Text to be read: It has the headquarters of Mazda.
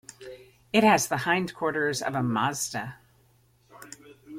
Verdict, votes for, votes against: rejected, 0, 2